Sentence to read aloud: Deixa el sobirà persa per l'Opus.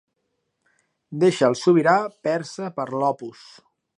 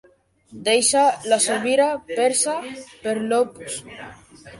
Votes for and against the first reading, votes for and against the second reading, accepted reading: 2, 0, 1, 2, first